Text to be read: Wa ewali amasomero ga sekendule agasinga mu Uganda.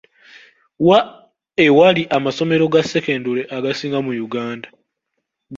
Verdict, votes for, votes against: accepted, 2, 1